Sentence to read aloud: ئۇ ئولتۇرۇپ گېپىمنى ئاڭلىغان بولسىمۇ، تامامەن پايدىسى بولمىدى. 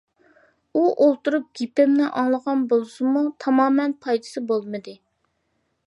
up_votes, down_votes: 2, 0